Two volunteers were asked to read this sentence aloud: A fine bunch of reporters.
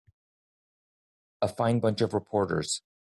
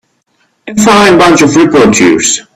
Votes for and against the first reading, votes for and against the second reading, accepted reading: 2, 0, 1, 2, first